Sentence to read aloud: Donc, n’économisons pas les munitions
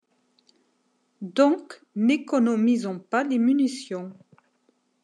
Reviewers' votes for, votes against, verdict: 2, 0, accepted